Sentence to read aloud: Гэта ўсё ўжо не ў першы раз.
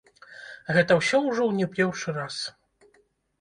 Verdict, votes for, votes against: rejected, 0, 2